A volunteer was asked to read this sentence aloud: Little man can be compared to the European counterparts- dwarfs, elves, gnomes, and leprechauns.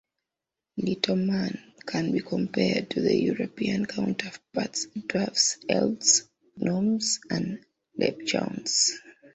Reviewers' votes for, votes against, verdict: 1, 2, rejected